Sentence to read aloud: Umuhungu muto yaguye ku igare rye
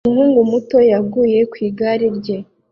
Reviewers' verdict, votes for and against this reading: accepted, 2, 0